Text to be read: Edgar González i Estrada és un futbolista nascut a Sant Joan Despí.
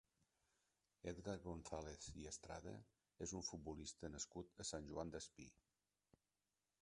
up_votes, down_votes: 1, 2